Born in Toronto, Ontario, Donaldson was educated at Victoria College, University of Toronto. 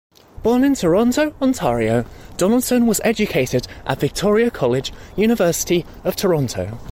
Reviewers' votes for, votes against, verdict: 2, 0, accepted